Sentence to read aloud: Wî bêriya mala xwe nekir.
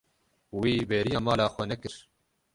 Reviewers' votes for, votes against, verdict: 0, 6, rejected